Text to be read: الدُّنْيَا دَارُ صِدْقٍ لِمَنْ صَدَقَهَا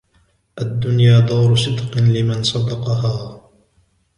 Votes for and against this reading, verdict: 0, 2, rejected